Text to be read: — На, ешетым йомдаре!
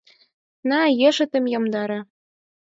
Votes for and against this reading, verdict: 0, 4, rejected